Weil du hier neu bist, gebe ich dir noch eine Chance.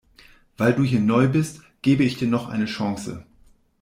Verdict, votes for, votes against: accepted, 2, 0